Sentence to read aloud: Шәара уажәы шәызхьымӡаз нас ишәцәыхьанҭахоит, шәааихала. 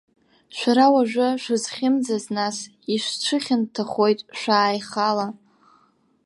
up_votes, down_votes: 0, 2